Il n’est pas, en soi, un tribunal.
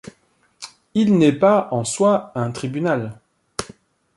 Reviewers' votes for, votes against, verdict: 2, 0, accepted